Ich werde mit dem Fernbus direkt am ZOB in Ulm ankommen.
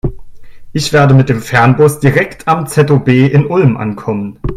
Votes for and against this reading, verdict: 2, 1, accepted